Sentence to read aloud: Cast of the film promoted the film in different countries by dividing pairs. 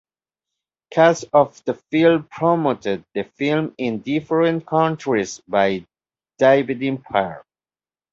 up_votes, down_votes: 1, 2